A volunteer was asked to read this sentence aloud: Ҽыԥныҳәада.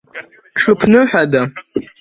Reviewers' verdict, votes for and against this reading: rejected, 1, 2